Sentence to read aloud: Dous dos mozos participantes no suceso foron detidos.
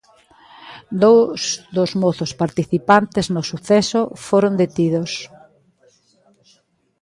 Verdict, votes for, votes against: accepted, 2, 0